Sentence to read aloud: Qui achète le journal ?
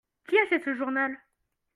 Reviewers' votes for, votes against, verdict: 0, 2, rejected